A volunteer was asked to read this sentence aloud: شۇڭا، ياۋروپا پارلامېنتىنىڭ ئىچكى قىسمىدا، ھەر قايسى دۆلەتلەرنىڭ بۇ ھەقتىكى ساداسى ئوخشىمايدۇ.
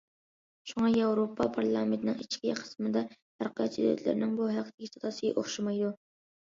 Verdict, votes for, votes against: rejected, 0, 2